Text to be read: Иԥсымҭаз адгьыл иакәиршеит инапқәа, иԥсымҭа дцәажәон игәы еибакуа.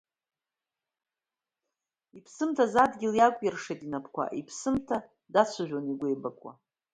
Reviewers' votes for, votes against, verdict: 0, 2, rejected